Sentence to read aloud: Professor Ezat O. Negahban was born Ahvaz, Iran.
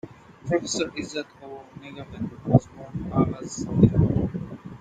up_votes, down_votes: 0, 2